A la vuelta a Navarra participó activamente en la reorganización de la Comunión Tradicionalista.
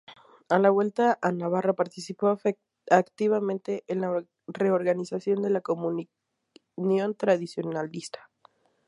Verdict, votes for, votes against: rejected, 2, 4